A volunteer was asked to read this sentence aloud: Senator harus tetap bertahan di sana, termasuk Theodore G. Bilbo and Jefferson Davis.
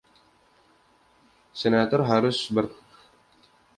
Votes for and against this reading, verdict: 0, 2, rejected